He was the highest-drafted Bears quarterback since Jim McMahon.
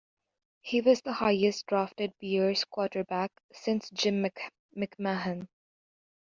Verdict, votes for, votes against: rejected, 0, 2